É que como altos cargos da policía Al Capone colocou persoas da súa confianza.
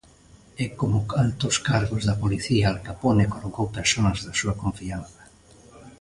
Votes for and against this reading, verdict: 1, 2, rejected